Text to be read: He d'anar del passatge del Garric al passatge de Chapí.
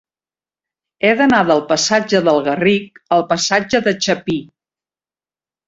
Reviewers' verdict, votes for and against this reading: accepted, 3, 0